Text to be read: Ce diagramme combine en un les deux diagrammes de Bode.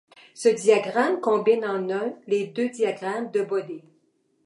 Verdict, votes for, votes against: rejected, 1, 2